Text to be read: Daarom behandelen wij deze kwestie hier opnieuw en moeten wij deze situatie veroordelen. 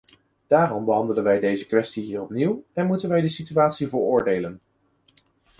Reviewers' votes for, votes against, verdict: 1, 2, rejected